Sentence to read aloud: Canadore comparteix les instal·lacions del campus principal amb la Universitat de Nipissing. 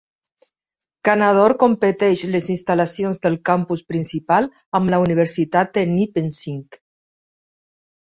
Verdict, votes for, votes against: accepted, 2, 1